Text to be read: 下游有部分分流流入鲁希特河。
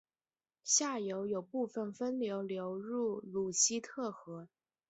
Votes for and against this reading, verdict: 2, 2, rejected